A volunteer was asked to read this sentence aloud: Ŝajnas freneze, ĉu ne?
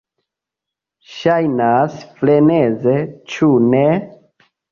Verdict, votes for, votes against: rejected, 0, 2